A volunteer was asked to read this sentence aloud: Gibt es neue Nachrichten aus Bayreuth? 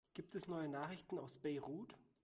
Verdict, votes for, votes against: rejected, 0, 2